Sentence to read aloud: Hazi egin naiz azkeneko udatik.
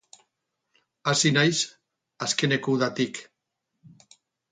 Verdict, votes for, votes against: rejected, 0, 2